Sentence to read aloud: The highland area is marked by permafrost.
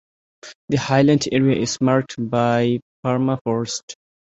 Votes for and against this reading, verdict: 0, 2, rejected